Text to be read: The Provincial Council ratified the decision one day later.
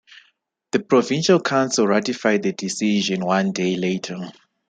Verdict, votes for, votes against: accepted, 2, 0